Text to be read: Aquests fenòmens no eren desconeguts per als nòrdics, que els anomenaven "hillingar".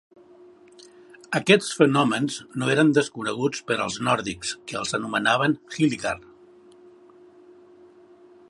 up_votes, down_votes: 4, 0